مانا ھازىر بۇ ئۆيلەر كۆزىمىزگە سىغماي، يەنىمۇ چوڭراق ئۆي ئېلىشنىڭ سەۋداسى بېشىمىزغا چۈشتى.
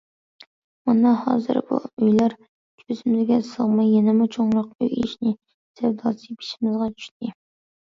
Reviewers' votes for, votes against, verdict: 1, 2, rejected